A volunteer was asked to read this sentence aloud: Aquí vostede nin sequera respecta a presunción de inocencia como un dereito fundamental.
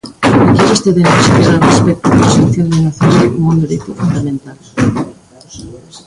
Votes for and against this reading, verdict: 0, 2, rejected